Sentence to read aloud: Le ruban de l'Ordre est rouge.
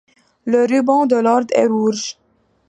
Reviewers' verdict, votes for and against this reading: accepted, 2, 1